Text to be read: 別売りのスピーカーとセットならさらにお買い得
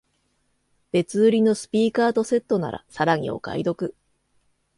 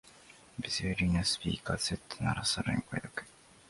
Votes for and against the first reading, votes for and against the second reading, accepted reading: 2, 0, 1, 3, first